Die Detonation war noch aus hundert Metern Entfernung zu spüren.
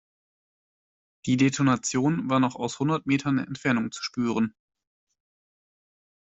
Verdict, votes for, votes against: accepted, 2, 0